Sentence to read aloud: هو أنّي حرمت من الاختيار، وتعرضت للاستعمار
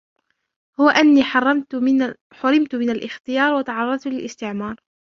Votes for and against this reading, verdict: 0, 2, rejected